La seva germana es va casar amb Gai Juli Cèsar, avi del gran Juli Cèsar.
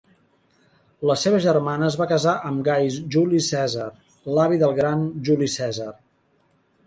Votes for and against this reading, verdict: 1, 2, rejected